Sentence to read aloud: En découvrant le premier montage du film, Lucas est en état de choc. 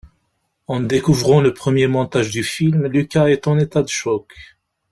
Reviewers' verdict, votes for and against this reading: rejected, 1, 2